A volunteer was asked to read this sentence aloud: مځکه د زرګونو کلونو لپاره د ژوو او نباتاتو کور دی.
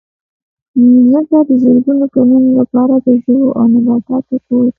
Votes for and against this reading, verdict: 1, 2, rejected